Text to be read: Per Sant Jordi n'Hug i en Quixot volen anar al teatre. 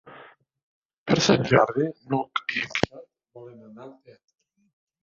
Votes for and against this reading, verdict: 1, 2, rejected